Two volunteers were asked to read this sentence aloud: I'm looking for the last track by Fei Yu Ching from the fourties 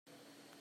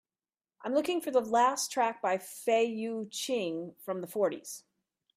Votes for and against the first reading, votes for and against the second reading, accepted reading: 0, 2, 2, 0, second